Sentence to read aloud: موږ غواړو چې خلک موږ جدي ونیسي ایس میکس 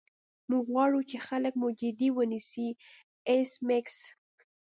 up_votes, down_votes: 2, 0